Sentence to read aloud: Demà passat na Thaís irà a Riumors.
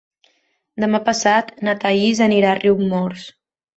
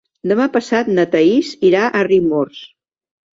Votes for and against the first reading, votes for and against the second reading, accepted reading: 0, 2, 2, 0, second